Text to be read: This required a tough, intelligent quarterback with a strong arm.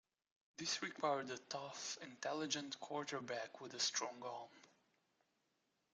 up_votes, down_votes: 2, 1